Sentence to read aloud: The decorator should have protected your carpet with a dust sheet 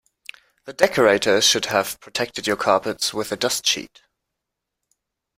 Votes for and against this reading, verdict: 1, 2, rejected